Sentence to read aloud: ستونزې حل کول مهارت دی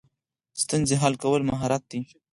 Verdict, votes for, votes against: rejected, 2, 4